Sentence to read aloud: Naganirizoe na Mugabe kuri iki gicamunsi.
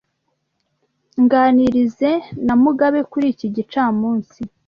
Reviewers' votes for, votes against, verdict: 0, 2, rejected